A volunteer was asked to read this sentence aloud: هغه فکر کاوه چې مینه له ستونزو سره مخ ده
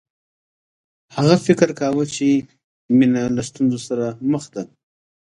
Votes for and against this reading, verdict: 2, 0, accepted